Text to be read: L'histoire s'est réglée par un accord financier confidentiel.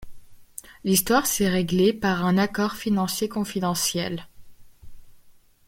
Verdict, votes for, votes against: accepted, 2, 1